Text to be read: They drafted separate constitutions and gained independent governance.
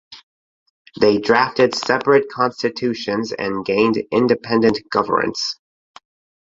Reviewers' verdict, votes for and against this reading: accepted, 6, 2